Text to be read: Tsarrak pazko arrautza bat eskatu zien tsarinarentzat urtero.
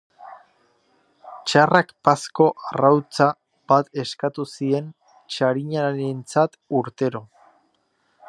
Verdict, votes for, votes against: accepted, 2, 0